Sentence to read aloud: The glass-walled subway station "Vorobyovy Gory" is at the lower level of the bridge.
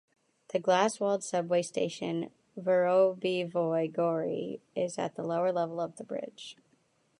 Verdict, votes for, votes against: rejected, 0, 2